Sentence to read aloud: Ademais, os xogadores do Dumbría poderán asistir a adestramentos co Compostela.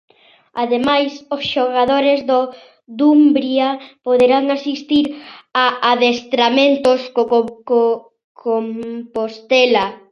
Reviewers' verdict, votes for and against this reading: rejected, 0, 2